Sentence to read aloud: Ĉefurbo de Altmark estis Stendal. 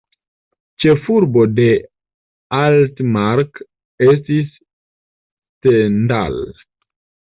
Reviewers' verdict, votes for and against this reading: accepted, 2, 1